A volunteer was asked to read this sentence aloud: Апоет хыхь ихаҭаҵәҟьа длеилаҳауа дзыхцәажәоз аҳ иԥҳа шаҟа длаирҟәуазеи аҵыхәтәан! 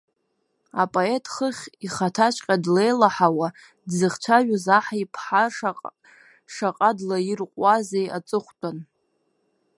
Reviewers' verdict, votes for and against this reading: rejected, 0, 2